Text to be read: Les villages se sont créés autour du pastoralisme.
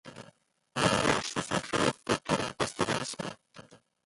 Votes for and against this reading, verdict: 0, 2, rejected